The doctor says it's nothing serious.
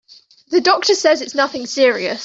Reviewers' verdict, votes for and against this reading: accepted, 2, 0